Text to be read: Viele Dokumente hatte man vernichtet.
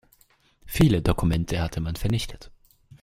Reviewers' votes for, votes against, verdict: 2, 0, accepted